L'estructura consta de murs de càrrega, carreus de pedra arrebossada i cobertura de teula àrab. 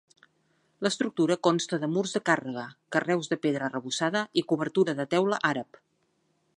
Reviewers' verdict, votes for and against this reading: accepted, 3, 0